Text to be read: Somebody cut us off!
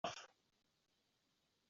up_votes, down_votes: 0, 2